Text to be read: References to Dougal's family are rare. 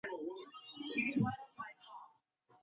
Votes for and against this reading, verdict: 2, 2, rejected